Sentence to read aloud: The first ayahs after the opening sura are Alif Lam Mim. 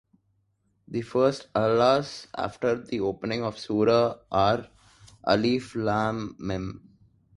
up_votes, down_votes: 2, 3